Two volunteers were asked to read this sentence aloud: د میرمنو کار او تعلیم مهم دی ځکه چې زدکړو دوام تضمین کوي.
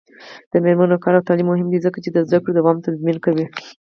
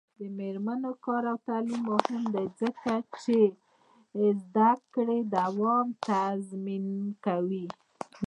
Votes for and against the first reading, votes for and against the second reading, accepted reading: 2, 4, 2, 1, second